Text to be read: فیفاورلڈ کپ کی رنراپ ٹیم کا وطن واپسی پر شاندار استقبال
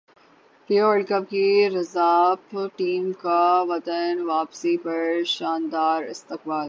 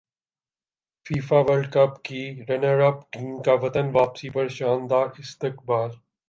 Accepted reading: second